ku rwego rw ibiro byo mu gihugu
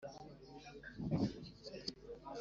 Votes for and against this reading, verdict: 0, 2, rejected